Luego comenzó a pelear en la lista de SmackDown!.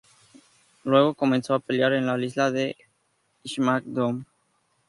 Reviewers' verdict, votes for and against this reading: accepted, 2, 0